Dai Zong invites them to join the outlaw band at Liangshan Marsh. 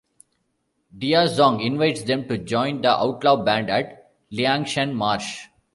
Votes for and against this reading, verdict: 1, 2, rejected